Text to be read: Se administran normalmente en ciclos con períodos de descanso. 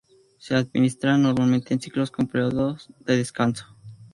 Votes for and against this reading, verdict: 2, 0, accepted